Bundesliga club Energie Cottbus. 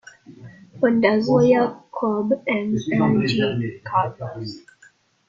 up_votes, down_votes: 0, 2